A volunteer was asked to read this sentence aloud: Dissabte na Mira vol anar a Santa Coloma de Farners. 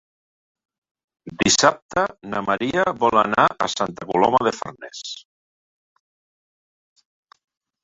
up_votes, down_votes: 0, 2